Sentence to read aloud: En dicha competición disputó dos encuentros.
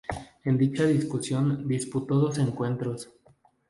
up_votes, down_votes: 0, 2